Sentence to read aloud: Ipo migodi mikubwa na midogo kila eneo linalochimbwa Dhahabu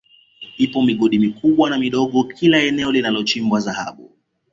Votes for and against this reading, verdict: 2, 0, accepted